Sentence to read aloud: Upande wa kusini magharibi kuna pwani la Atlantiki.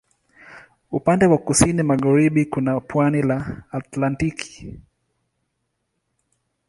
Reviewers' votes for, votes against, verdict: 2, 0, accepted